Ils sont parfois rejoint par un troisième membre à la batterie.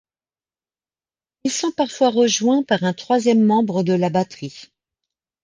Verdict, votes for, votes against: rejected, 1, 2